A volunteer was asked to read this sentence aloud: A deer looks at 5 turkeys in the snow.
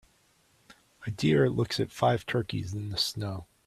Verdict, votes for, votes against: rejected, 0, 2